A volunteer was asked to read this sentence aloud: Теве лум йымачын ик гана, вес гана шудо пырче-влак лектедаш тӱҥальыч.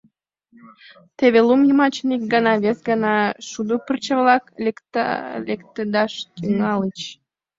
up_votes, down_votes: 0, 2